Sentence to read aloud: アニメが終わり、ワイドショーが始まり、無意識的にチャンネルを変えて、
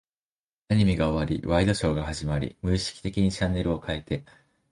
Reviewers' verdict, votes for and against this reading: accepted, 2, 0